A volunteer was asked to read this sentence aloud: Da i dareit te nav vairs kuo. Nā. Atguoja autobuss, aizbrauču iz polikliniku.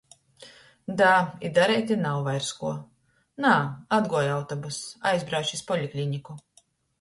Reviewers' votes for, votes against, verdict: 1, 2, rejected